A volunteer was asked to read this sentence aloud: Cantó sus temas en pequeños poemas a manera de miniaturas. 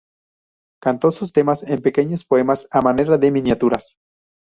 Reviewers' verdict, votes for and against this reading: accepted, 2, 0